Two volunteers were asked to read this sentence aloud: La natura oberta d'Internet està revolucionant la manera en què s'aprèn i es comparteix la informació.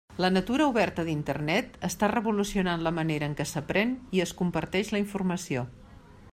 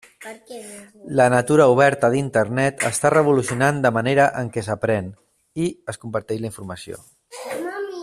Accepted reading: first